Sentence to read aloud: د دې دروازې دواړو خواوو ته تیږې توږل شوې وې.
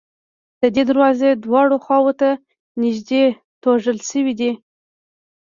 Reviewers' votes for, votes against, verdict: 1, 2, rejected